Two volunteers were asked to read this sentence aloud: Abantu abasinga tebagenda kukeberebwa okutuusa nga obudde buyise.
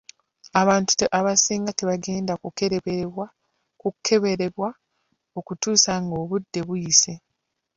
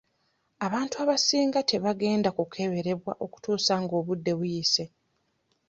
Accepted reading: second